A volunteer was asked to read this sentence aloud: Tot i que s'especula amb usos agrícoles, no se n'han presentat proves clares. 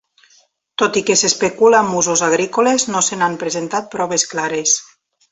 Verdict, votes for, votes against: accepted, 4, 0